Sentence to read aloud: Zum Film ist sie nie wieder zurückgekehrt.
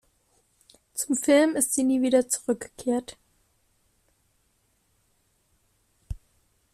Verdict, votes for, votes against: accepted, 2, 0